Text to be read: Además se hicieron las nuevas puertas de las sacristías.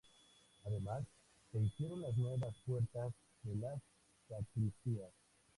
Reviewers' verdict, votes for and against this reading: accepted, 2, 0